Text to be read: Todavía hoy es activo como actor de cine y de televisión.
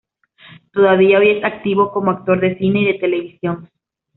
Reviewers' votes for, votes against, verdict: 2, 0, accepted